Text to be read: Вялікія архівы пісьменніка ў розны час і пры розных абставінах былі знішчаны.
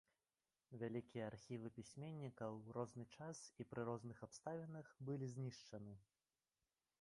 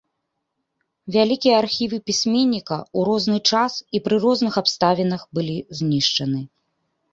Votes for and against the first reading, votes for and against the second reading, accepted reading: 0, 2, 2, 0, second